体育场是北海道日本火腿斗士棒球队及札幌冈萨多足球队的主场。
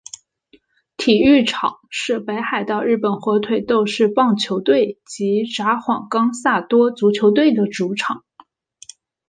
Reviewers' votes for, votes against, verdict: 2, 0, accepted